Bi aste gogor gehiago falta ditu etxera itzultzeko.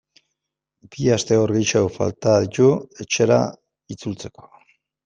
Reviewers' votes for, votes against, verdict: 1, 2, rejected